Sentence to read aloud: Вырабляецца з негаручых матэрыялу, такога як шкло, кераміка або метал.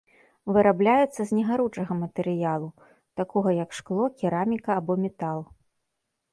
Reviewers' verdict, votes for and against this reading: rejected, 1, 2